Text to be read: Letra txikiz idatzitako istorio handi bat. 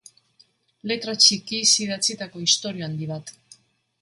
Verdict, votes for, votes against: accepted, 2, 0